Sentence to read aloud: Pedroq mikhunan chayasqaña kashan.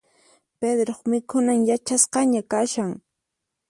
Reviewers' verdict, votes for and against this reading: rejected, 2, 4